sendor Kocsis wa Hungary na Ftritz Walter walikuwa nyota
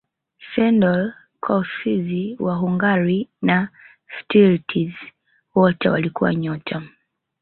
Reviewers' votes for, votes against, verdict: 1, 2, rejected